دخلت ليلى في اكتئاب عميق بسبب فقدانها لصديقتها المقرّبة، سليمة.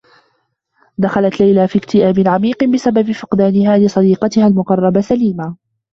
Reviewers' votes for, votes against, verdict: 2, 1, accepted